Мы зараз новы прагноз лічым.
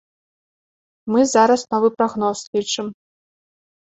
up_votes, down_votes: 2, 0